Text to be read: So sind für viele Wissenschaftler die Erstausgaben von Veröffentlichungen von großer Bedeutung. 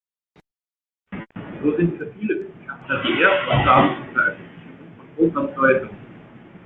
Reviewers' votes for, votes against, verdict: 0, 2, rejected